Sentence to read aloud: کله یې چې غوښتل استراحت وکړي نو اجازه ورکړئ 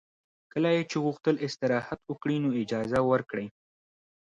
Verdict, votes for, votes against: accepted, 2, 0